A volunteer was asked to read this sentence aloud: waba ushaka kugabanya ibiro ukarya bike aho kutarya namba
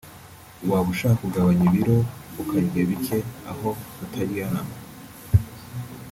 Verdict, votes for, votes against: rejected, 0, 2